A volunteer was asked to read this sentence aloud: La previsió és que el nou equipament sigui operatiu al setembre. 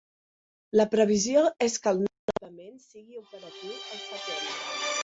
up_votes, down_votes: 0, 2